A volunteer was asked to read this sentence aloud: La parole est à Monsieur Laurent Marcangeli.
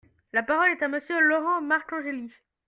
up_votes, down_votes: 2, 0